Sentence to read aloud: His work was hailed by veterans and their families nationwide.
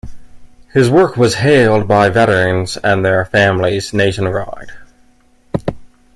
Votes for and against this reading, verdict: 2, 0, accepted